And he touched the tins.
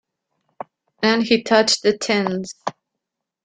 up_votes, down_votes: 2, 0